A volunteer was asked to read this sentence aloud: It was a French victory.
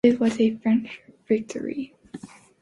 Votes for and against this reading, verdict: 3, 0, accepted